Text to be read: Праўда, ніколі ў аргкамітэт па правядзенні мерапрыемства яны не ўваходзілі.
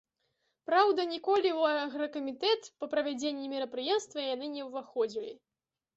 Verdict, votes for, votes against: rejected, 1, 2